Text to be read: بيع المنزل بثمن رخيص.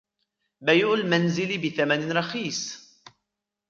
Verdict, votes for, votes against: rejected, 2, 3